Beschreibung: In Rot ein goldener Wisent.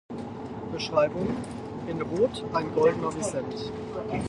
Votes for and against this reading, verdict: 2, 4, rejected